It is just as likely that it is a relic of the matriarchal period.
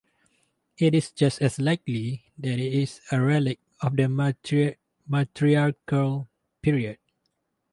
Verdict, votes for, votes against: rejected, 0, 4